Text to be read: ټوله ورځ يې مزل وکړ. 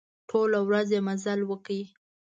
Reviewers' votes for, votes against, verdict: 2, 0, accepted